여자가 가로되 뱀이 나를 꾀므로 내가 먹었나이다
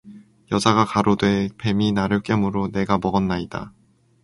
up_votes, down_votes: 0, 2